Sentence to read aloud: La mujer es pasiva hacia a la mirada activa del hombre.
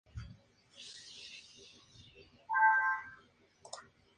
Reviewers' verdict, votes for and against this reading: rejected, 0, 2